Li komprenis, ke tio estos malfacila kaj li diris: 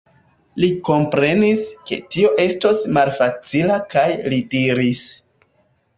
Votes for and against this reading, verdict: 1, 2, rejected